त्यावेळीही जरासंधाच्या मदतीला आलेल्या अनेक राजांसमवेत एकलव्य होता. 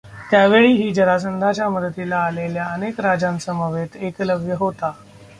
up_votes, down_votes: 1, 2